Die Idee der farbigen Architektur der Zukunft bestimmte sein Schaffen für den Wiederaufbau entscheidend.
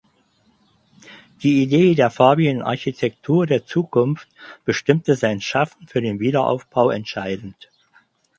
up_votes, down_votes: 6, 0